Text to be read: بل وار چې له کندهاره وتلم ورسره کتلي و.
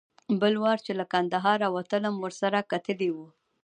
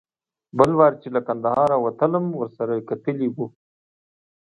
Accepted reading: second